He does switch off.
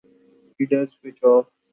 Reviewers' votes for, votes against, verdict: 2, 0, accepted